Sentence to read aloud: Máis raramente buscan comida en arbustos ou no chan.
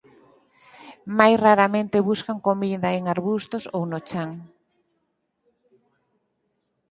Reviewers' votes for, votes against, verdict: 4, 0, accepted